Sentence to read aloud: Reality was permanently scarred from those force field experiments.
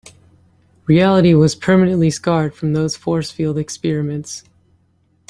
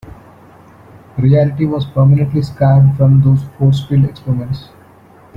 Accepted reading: first